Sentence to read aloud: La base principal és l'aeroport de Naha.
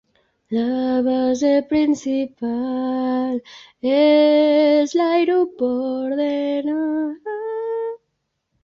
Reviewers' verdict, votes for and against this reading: rejected, 1, 2